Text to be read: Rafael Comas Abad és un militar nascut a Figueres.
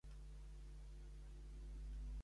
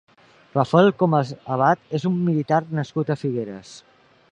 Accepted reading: second